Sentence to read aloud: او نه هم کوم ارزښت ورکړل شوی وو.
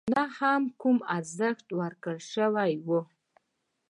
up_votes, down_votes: 2, 1